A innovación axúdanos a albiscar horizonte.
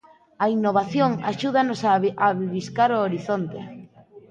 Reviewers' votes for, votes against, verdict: 0, 2, rejected